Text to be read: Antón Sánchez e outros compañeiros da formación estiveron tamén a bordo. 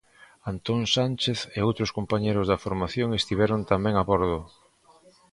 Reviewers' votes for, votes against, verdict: 2, 1, accepted